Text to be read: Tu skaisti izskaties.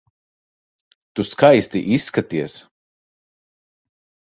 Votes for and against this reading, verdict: 3, 0, accepted